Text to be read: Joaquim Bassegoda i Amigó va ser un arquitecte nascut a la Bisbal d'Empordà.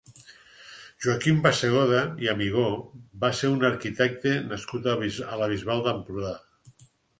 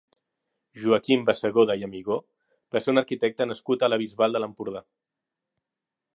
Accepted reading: first